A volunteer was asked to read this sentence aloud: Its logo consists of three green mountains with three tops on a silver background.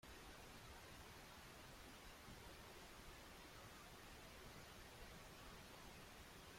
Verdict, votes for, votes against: rejected, 0, 2